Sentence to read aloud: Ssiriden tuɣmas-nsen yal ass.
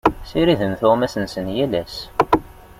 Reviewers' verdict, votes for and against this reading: rejected, 0, 2